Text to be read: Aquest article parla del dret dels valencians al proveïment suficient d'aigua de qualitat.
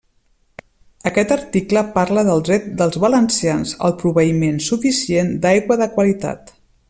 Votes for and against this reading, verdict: 2, 0, accepted